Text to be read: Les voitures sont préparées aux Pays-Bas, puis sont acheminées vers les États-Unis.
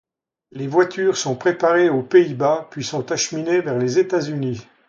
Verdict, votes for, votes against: accepted, 2, 0